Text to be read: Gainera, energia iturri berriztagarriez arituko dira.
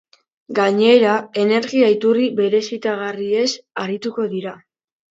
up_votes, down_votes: 1, 2